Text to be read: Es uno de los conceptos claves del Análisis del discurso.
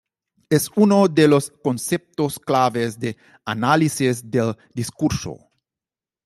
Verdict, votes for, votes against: accepted, 2, 0